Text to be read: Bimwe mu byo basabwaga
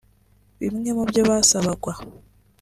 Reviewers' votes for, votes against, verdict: 0, 2, rejected